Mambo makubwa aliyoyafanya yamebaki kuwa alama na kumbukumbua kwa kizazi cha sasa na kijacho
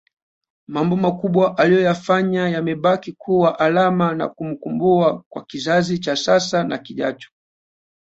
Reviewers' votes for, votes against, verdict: 2, 0, accepted